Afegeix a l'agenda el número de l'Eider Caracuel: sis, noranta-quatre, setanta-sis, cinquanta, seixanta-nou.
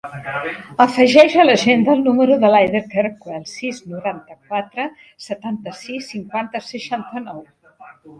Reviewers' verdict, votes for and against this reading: rejected, 0, 3